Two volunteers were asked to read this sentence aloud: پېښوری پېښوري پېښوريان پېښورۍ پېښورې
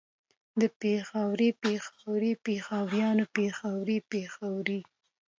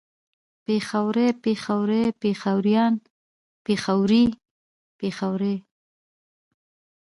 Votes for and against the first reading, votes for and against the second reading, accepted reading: 2, 0, 1, 2, first